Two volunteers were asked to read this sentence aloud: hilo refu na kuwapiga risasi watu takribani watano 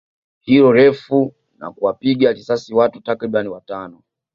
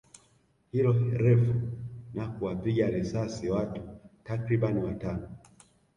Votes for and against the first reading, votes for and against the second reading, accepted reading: 3, 1, 1, 2, first